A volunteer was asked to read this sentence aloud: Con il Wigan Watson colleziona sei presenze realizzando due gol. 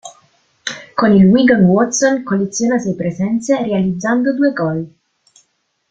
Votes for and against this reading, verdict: 1, 2, rejected